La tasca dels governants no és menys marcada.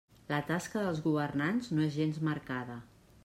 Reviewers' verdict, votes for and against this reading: rejected, 0, 2